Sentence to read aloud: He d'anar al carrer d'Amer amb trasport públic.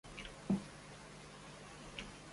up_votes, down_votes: 0, 2